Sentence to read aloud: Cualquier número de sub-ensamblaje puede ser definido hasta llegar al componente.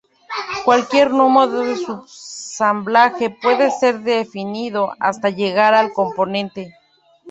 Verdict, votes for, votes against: rejected, 0, 2